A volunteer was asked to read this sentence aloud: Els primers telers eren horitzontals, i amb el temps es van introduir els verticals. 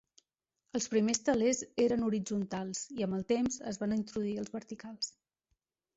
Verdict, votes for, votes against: rejected, 0, 2